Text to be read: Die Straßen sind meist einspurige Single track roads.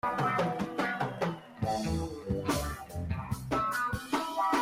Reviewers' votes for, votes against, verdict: 0, 3, rejected